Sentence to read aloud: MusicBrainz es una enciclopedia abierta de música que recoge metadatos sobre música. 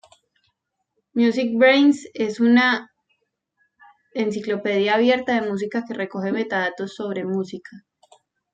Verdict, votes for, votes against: rejected, 1, 2